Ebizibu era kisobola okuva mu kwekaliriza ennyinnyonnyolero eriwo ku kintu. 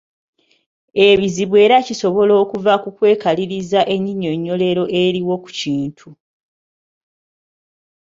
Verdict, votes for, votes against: accepted, 2, 0